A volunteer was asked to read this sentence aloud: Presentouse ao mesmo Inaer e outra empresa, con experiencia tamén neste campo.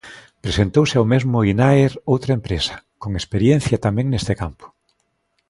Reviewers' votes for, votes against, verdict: 0, 2, rejected